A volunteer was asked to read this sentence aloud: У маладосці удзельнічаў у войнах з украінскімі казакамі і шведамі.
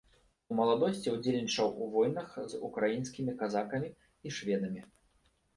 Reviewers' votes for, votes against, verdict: 1, 2, rejected